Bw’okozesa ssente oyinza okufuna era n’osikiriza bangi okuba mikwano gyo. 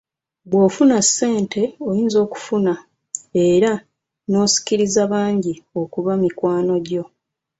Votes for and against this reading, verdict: 1, 2, rejected